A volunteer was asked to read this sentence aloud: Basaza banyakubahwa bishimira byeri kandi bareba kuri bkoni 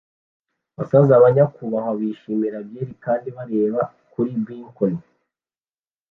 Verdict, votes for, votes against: accepted, 2, 0